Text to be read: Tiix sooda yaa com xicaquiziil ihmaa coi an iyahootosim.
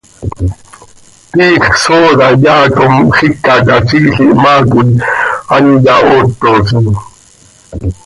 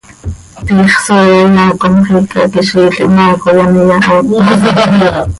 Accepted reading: first